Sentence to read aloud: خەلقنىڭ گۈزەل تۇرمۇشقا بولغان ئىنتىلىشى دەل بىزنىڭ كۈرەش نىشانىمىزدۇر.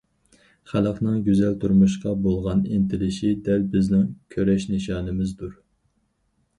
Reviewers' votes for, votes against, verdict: 4, 0, accepted